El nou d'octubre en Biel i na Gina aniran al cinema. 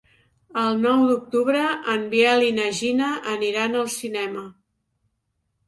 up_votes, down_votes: 2, 0